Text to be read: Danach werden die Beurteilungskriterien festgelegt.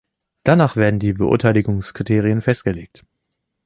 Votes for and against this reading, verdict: 1, 2, rejected